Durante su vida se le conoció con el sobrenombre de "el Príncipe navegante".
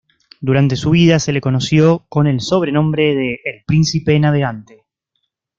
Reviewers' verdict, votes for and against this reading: accepted, 2, 0